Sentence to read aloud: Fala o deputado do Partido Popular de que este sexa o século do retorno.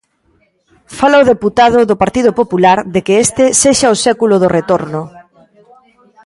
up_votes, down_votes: 2, 0